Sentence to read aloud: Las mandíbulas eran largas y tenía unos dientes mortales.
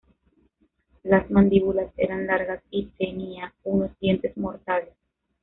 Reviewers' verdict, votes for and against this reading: rejected, 1, 2